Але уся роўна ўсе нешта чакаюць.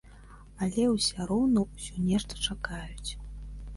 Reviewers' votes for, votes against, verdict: 3, 1, accepted